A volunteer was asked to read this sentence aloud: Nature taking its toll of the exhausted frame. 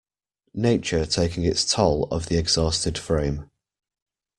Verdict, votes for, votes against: accepted, 2, 0